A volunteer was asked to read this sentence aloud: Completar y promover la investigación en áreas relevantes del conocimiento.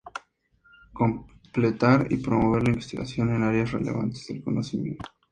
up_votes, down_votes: 2, 0